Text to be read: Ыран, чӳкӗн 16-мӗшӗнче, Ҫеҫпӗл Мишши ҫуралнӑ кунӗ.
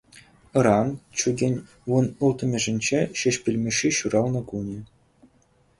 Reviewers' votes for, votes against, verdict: 0, 2, rejected